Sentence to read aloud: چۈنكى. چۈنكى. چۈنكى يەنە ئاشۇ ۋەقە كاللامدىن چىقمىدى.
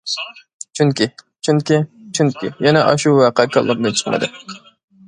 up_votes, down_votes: 1, 2